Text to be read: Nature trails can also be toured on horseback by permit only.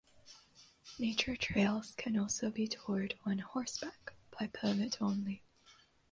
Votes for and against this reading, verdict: 2, 0, accepted